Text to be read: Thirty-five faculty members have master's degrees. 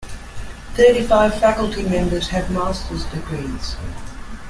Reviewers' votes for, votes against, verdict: 2, 0, accepted